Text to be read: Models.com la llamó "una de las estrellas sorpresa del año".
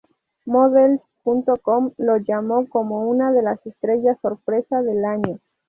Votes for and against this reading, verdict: 0, 2, rejected